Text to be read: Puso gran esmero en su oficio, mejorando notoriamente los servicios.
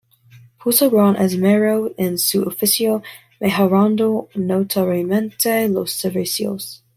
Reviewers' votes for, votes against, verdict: 2, 1, accepted